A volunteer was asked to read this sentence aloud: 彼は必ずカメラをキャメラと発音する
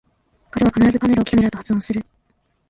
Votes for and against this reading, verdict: 1, 2, rejected